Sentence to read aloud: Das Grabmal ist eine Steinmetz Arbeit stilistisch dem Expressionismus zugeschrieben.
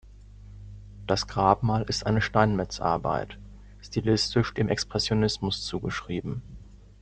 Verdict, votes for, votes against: rejected, 0, 2